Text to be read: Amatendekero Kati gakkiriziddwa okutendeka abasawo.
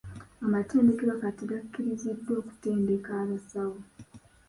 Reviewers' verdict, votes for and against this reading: accepted, 2, 0